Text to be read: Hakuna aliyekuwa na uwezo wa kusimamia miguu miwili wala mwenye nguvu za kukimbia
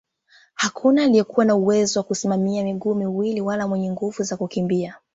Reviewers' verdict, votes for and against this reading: accepted, 4, 0